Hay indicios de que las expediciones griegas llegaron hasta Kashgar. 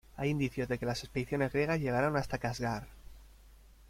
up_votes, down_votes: 0, 2